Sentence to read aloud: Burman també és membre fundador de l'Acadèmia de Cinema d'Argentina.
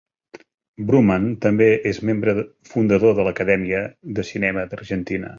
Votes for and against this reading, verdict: 0, 2, rejected